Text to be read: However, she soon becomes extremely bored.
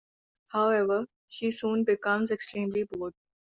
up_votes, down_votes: 2, 0